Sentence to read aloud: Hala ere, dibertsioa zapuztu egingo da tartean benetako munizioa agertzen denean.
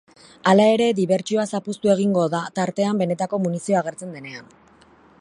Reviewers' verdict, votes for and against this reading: accepted, 2, 0